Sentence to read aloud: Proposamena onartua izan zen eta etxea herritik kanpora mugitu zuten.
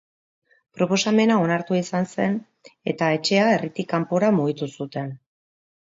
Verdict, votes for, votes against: accepted, 3, 0